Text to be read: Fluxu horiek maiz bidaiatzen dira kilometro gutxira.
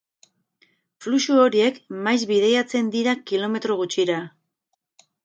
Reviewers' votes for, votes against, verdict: 2, 0, accepted